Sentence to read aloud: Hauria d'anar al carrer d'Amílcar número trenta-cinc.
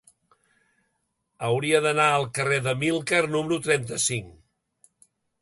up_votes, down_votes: 2, 0